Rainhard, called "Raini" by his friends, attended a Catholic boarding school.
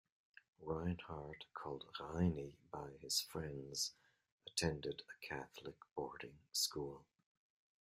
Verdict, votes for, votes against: rejected, 1, 2